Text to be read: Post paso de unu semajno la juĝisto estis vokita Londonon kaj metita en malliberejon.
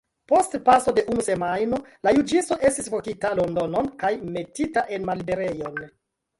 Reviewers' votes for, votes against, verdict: 1, 2, rejected